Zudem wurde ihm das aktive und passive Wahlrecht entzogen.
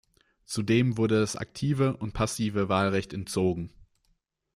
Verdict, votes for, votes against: rejected, 0, 2